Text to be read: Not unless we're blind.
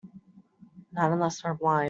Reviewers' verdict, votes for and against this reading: rejected, 1, 3